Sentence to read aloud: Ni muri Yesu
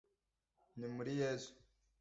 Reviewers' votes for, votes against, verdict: 2, 0, accepted